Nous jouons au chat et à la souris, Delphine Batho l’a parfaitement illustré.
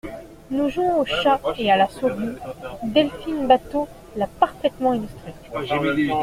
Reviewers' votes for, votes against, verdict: 2, 0, accepted